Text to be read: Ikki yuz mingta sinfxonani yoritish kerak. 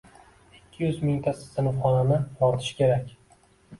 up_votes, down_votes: 2, 0